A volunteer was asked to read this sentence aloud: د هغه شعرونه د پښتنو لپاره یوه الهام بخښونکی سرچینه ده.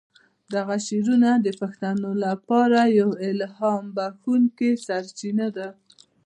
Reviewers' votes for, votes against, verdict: 1, 2, rejected